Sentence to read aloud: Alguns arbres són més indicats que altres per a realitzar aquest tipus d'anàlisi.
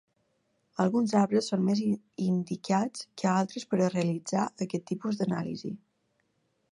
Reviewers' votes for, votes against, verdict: 1, 2, rejected